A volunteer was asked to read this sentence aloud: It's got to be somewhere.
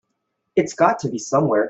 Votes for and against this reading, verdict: 2, 0, accepted